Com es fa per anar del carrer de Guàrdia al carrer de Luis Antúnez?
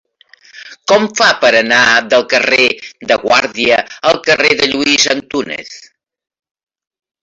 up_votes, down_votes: 0, 2